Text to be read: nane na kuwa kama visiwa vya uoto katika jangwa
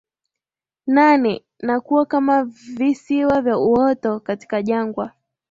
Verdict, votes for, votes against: accepted, 3, 1